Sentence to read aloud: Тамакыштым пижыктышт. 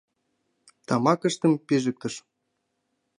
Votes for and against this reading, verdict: 3, 0, accepted